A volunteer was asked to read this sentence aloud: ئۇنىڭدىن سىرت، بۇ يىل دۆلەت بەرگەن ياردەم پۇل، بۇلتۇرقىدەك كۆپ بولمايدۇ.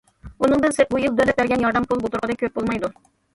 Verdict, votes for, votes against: rejected, 1, 2